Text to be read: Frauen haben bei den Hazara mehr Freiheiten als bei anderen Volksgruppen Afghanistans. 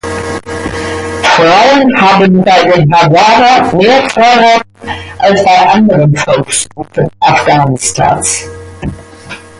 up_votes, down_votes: 0, 2